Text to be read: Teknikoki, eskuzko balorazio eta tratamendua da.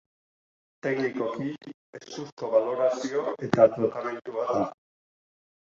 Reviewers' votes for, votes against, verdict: 0, 2, rejected